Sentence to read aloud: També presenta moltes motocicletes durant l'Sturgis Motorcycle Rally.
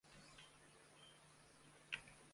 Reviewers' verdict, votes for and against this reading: rejected, 0, 2